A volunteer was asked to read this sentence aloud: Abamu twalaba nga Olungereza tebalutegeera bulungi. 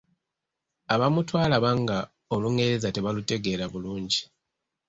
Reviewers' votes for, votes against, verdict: 2, 0, accepted